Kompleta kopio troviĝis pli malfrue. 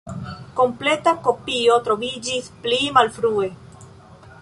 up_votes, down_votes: 2, 0